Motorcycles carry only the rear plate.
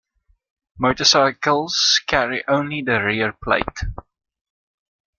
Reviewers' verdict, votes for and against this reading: rejected, 1, 2